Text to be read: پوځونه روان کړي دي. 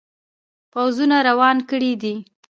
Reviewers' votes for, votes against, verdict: 0, 2, rejected